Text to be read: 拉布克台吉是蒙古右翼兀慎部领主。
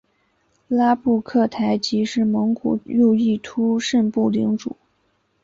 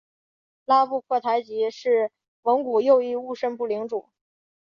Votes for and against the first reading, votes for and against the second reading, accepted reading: 7, 0, 1, 2, first